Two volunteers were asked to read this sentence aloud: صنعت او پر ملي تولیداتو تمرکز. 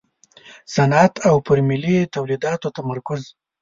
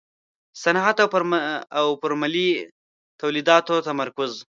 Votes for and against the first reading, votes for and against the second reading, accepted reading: 2, 0, 1, 2, first